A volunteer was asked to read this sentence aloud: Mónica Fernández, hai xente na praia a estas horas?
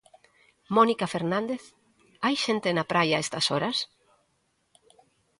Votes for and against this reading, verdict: 2, 0, accepted